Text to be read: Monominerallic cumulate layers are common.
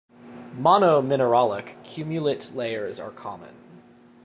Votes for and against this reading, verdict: 2, 0, accepted